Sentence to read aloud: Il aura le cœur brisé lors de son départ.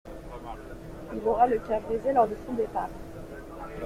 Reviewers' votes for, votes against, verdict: 1, 2, rejected